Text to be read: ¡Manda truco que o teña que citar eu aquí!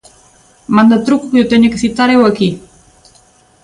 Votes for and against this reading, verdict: 3, 0, accepted